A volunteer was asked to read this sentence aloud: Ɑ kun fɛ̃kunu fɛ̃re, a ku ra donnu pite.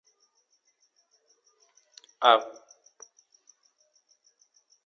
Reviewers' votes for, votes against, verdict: 0, 2, rejected